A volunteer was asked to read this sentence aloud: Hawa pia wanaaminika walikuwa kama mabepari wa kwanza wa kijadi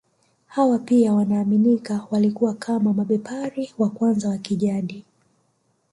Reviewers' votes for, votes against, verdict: 2, 1, accepted